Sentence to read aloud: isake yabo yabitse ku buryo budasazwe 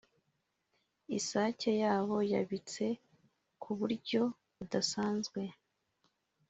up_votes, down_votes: 2, 0